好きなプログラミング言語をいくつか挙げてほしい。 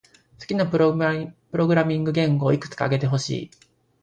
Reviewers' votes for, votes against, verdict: 1, 2, rejected